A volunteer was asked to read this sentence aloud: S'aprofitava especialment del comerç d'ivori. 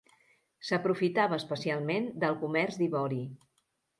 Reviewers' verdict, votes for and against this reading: accepted, 2, 0